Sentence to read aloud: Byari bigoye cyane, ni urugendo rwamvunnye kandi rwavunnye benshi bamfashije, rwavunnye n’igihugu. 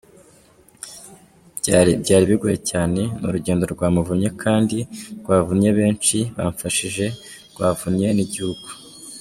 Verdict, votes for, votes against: accepted, 2, 1